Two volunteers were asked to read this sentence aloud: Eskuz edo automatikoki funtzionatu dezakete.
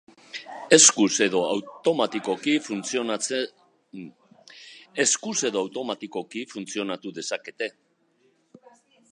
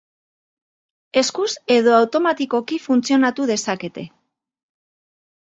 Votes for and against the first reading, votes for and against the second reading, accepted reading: 0, 2, 6, 0, second